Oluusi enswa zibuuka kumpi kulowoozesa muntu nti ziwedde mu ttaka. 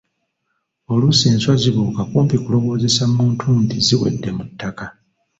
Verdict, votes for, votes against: accepted, 2, 0